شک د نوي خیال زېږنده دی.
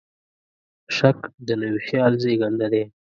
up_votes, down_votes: 2, 0